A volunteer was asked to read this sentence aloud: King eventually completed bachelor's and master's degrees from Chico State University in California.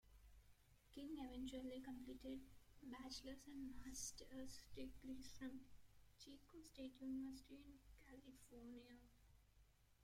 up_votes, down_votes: 1, 2